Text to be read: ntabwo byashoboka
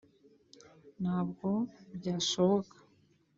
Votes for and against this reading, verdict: 2, 0, accepted